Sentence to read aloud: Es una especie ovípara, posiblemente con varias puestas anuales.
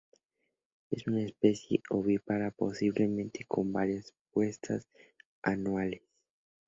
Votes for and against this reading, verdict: 2, 0, accepted